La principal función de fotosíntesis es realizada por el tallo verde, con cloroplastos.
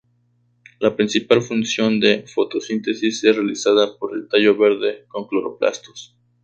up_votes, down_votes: 2, 2